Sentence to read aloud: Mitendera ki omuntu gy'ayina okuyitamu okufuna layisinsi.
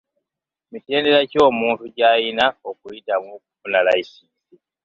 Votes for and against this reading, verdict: 2, 0, accepted